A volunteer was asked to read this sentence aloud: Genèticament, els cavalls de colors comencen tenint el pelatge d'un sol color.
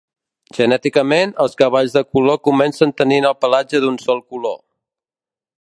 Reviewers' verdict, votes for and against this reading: rejected, 0, 2